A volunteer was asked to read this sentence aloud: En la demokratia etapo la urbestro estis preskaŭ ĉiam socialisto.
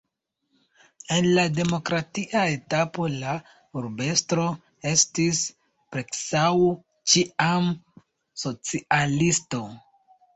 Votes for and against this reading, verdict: 1, 2, rejected